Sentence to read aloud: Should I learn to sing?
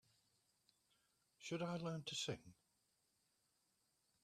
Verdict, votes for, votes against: accepted, 2, 0